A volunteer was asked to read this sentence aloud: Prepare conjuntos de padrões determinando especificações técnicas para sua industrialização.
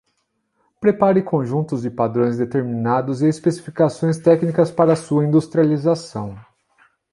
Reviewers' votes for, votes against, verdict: 1, 2, rejected